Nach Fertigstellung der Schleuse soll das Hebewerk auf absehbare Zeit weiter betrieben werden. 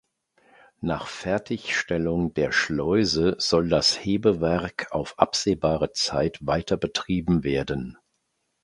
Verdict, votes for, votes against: accepted, 2, 0